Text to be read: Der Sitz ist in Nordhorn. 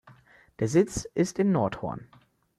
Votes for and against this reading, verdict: 1, 2, rejected